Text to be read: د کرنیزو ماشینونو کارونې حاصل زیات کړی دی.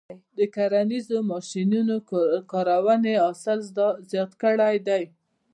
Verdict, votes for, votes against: rejected, 1, 2